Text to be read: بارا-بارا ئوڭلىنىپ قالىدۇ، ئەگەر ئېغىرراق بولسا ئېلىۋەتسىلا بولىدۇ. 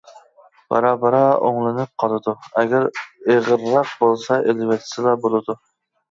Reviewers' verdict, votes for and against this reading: accepted, 2, 0